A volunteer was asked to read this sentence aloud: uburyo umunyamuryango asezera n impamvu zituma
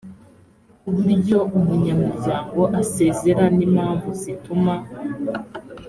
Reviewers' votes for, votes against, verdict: 4, 0, accepted